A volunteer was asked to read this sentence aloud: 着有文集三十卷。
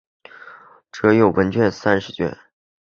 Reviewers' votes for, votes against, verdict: 0, 3, rejected